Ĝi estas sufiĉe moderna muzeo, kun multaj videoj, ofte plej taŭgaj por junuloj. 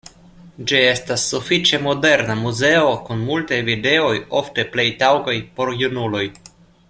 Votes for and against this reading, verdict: 2, 0, accepted